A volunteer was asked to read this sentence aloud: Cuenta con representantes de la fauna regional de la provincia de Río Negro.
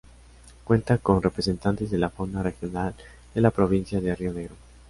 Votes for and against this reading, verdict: 2, 0, accepted